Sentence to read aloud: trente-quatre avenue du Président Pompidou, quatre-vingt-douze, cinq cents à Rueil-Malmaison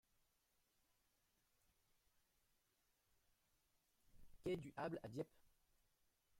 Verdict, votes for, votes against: rejected, 0, 2